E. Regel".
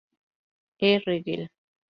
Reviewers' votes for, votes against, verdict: 0, 2, rejected